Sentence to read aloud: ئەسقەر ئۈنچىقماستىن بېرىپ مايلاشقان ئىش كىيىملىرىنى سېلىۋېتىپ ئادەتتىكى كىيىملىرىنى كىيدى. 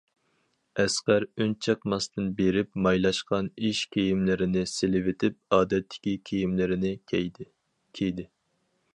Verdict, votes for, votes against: rejected, 2, 4